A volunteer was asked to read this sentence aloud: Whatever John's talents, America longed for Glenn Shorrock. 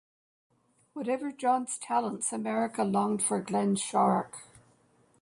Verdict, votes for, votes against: accepted, 2, 0